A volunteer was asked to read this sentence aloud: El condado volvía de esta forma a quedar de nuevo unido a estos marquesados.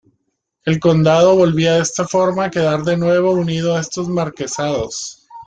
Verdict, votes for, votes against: accepted, 2, 0